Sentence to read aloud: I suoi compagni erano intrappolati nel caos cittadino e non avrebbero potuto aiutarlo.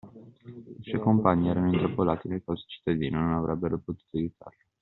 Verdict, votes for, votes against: rejected, 1, 2